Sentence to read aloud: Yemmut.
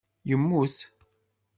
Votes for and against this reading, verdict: 2, 0, accepted